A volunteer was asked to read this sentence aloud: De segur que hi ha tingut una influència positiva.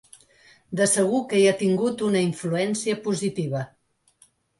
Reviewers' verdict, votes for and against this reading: accepted, 3, 0